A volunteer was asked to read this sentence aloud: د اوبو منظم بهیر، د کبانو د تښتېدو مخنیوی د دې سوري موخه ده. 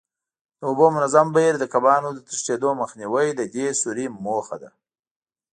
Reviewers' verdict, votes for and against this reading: accepted, 3, 0